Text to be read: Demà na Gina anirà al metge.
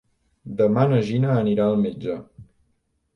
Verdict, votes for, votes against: rejected, 1, 2